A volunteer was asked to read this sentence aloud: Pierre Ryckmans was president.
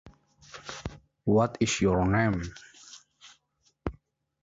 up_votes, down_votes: 0, 2